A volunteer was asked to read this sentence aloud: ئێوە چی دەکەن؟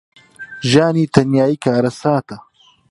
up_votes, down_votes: 0, 3